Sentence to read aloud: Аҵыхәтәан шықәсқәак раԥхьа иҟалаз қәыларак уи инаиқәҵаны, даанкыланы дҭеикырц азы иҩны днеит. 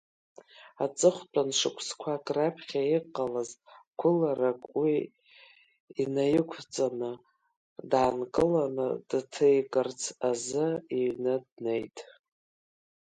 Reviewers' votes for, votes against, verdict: 1, 3, rejected